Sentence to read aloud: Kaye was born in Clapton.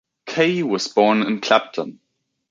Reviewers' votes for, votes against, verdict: 2, 0, accepted